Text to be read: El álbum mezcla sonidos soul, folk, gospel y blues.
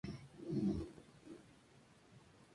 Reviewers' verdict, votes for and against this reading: rejected, 0, 2